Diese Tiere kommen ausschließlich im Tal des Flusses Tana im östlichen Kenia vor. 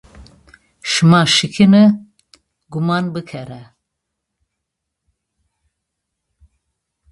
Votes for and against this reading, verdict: 0, 2, rejected